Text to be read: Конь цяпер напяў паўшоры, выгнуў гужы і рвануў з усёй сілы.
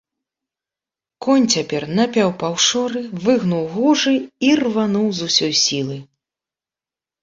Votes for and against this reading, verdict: 2, 1, accepted